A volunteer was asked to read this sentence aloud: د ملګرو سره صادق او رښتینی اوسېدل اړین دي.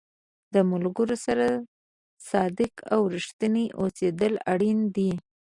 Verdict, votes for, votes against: accepted, 2, 0